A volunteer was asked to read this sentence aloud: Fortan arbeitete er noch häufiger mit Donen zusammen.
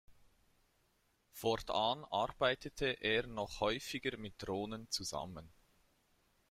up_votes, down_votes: 0, 2